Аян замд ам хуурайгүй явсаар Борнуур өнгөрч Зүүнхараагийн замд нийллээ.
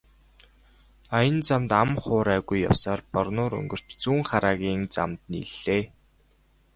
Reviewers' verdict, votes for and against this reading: accepted, 3, 0